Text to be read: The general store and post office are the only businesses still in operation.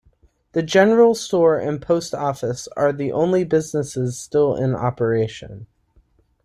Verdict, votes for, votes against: accepted, 2, 0